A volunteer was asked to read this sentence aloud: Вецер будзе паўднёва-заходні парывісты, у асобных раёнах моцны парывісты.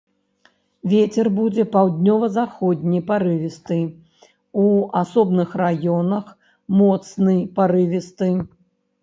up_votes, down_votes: 2, 0